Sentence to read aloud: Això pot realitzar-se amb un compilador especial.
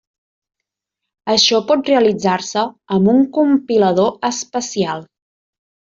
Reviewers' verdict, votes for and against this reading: accepted, 3, 0